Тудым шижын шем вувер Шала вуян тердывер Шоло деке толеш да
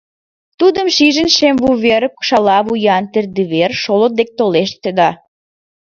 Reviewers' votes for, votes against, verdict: 1, 4, rejected